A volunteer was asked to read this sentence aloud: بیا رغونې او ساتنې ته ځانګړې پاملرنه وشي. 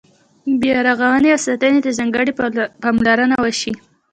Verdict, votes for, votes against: rejected, 0, 2